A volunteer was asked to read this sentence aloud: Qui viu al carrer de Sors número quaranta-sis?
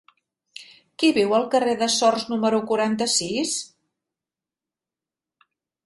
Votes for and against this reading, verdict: 2, 0, accepted